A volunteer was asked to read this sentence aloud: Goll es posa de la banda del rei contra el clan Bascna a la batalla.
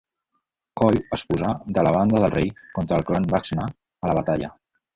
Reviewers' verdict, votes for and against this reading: rejected, 1, 2